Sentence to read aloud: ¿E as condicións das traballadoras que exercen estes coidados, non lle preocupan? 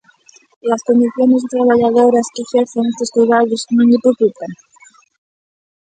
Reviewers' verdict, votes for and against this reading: rejected, 0, 2